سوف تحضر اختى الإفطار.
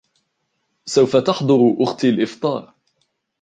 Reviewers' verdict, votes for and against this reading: rejected, 1, 2